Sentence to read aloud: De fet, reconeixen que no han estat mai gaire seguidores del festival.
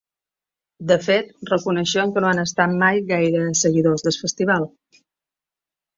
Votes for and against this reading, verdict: 1, 2, rejected